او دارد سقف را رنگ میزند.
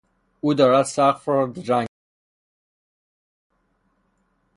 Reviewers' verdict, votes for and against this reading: rejected, 0, 3